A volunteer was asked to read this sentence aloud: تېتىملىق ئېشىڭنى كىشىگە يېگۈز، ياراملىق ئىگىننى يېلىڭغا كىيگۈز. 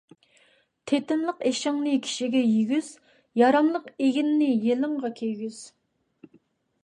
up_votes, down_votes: 2, 0